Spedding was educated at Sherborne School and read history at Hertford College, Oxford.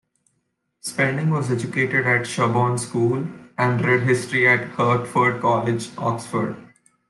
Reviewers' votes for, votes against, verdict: 2, 0, accepted